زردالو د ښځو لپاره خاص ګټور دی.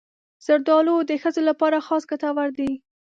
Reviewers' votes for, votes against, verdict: 1, 2, rejected